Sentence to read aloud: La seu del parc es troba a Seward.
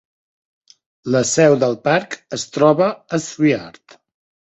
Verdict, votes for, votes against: rejected, 1, 2